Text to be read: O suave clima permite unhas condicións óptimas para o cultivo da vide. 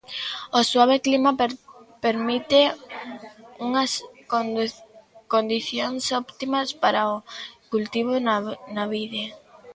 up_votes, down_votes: 0, 2